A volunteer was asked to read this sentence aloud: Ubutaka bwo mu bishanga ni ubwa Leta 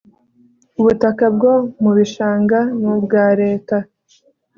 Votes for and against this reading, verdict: 2, 0, accepted